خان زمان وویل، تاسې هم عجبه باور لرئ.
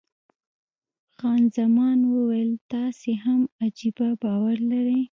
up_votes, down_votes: 0, 2